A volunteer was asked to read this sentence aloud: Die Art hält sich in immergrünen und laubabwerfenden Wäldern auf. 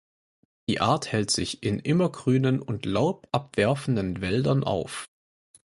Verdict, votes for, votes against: accepted, 4, 0